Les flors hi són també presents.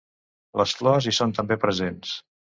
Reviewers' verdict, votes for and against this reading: accepted, 2, 0